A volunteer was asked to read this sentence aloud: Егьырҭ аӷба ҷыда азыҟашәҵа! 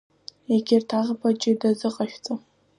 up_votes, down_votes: 2, 0